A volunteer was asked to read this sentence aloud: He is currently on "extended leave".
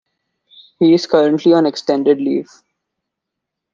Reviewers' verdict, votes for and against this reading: accepted, 2, 0